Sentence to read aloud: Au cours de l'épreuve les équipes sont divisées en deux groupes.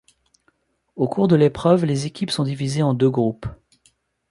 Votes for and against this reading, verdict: 1, 2, rejected